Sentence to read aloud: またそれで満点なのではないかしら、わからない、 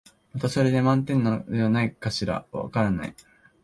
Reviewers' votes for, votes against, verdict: 0, 5, rejected